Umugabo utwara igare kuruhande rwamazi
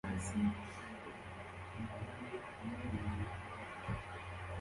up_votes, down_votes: 0, 2